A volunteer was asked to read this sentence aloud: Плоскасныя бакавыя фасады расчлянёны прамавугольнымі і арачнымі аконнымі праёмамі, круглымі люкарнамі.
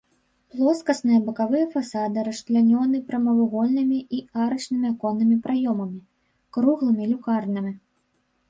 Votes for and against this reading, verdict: 2, 0, accepted